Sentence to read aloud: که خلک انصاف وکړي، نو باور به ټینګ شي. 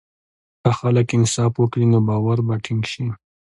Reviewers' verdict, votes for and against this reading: accepted, 2, 1